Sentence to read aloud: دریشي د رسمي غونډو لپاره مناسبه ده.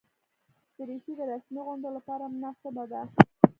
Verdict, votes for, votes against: accepted, 3, 0